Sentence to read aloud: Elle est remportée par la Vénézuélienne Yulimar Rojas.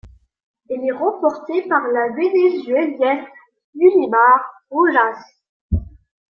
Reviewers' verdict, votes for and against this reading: accepted, 2, 1